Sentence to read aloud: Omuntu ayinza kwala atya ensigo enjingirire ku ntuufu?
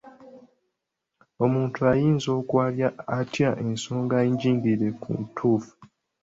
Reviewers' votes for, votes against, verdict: 0, 2, rejected